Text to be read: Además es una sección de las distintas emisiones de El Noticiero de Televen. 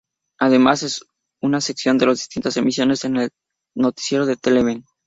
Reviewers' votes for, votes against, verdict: 0, 4, rejected